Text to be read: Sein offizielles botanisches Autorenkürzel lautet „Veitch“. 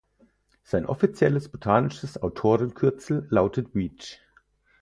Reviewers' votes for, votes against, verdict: 0, 4, rejected